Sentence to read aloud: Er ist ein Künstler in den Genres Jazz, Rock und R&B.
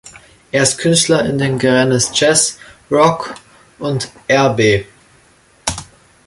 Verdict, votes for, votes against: rejected, 0, 2